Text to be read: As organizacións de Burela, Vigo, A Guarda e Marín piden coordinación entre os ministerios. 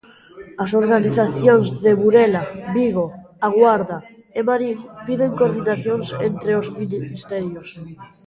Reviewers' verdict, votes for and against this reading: rejected, 0, 2